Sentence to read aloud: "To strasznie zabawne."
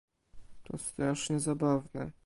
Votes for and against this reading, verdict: 2, 0, accepted